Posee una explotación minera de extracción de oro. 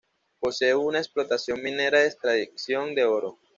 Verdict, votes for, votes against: rejected, 1, 2